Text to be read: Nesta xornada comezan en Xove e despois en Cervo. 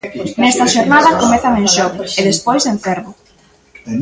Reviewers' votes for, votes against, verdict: 2, 0, accepted